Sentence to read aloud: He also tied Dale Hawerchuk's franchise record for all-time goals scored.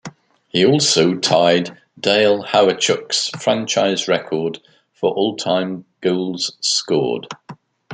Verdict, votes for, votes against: accepted, 3, 0